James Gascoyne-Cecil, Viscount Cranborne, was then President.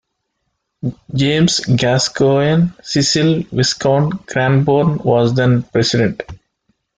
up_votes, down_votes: 1, 2